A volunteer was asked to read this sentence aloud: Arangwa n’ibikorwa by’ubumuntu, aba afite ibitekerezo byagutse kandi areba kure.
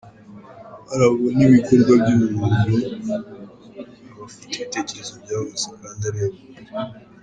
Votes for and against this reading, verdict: 1, 2, rejected